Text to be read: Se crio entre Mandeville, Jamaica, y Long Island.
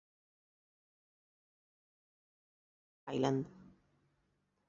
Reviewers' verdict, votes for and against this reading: rejected, 0, 2